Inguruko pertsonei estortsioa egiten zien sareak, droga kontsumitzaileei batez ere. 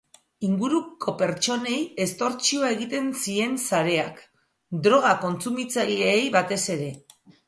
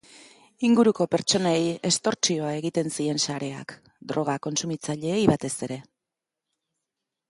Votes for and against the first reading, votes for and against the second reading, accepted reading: 1, 2, 2, 0, second